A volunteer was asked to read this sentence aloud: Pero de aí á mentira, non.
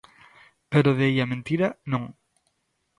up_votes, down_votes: 2, 0